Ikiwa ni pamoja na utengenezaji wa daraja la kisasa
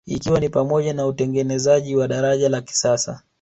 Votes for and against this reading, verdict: 0, 2, rejected